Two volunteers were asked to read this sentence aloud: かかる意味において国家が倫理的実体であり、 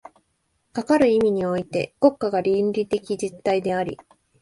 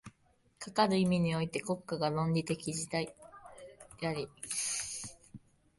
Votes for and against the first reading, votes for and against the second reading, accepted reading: 3, 0, 1, 3, first